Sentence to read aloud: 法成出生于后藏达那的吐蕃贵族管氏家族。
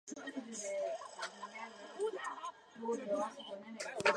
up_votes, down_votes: 0, 3